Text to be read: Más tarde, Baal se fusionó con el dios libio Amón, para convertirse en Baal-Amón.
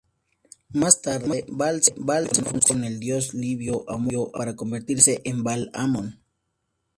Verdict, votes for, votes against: rejected, 0, 2